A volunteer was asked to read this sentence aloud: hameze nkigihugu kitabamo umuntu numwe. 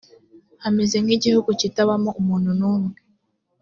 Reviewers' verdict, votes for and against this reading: accepted, 2, 0